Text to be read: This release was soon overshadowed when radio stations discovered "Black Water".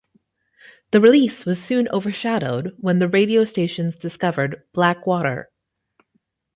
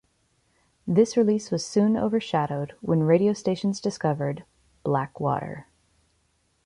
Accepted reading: second